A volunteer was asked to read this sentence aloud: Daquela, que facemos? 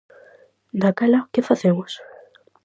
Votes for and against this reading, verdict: 4, 0, accepted